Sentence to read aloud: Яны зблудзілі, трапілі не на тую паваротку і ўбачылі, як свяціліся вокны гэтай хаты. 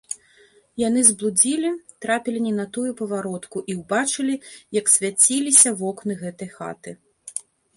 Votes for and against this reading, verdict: 3, 1, accepted